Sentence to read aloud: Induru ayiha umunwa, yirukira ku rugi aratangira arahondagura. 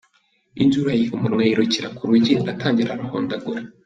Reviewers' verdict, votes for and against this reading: accepted, 3, 1